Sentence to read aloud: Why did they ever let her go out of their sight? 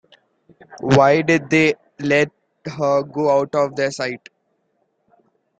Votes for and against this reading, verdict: 2, 1, accepted